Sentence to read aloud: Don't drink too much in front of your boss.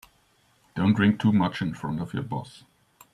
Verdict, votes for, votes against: accepted, 2, 0